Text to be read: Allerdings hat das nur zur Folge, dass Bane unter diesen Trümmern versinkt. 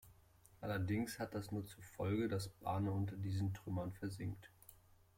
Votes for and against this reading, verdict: 2, 0, accepted